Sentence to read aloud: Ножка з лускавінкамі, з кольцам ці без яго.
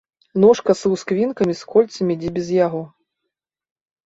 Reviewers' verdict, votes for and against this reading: rejected, 3, 4